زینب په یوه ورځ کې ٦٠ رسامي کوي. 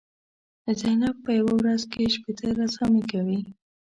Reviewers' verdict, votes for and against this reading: rejected, 0, 2